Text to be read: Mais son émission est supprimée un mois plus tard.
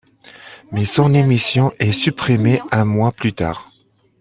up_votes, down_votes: 2, 1